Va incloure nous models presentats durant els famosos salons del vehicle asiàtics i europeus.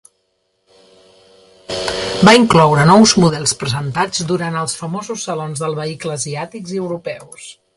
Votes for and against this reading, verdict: 1, 2, rejected